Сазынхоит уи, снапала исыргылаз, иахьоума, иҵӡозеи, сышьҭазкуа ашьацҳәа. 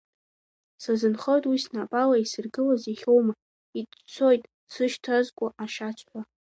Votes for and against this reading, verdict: 0, 2, rejected